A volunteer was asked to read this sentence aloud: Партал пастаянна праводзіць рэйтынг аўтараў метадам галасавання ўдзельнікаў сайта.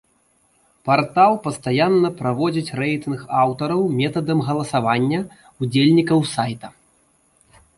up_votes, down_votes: 2, 1